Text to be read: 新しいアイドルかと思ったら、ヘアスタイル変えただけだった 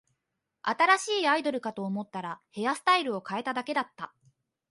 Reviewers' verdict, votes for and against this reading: rejected, 1, 2